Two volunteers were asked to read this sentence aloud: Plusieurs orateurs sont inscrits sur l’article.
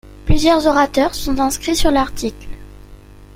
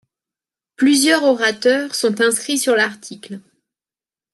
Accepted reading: second